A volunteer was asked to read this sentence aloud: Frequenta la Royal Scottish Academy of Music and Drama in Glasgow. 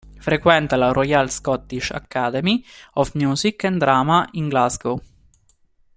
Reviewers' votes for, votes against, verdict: 2, 0, accepted